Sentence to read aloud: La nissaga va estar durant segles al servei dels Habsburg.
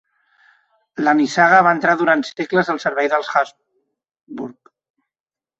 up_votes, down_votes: 1, 2